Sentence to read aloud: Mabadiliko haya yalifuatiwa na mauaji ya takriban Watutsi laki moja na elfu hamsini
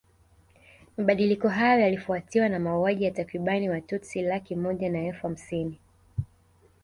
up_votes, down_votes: 2, 0